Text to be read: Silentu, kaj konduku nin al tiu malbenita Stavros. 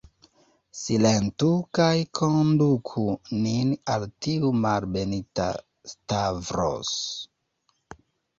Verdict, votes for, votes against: accepted, 2, 1